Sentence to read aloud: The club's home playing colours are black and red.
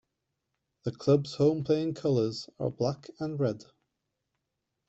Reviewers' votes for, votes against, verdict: 2, 0, accepted